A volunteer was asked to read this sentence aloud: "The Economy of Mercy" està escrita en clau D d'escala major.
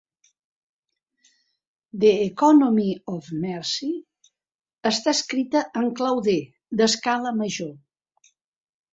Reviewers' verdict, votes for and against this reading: accepted, 4, 0